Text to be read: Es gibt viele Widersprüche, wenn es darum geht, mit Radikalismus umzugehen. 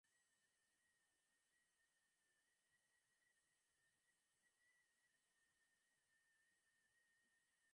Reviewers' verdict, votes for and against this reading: rejected, 0, 2